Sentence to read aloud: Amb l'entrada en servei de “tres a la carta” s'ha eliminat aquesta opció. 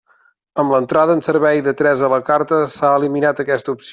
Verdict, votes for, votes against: rejected, 0, 2